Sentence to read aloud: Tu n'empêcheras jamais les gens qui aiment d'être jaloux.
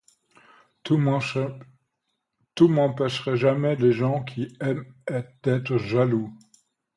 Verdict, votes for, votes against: rejected, 0, 2